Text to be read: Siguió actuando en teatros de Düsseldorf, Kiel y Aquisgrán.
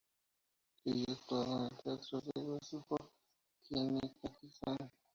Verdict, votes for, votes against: rejected, 0, 2